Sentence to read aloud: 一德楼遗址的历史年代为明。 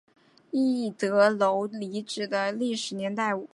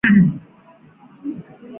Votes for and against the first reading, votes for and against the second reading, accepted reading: 2, 0, 0, 2, first